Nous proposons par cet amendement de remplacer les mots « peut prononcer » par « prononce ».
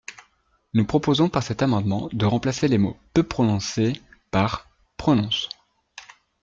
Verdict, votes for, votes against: accepted, 2, 0